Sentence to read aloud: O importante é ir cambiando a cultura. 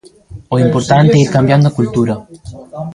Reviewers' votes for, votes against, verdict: 1, 2, rejected